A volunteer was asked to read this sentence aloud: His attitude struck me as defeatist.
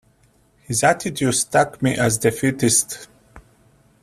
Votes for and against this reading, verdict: 0, 2, rejected